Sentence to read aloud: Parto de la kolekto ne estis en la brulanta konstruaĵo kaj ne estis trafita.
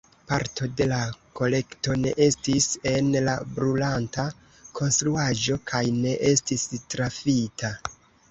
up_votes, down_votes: 2, 0